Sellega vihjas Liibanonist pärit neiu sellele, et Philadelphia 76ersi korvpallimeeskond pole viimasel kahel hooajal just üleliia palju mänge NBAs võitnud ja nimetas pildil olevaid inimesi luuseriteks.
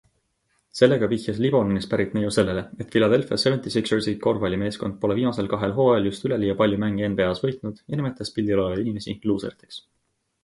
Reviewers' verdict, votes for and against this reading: rejected, 0, 2